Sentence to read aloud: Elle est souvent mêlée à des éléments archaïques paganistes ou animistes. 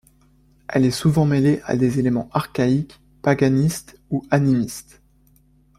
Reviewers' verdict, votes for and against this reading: accepted, 2, 0